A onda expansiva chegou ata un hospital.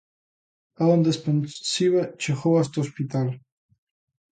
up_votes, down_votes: 0, 2